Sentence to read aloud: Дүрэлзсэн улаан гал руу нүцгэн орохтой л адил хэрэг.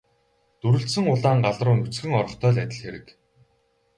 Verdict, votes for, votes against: rejected, 4, 4